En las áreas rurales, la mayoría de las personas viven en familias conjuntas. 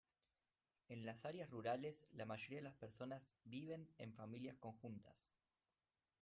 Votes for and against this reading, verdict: 1, 2, rejected